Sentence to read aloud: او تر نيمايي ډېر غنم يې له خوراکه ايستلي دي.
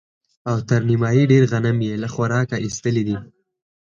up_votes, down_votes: 4, 0